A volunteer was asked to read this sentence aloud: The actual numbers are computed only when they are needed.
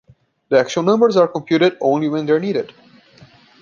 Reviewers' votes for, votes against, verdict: 2, 0, accepted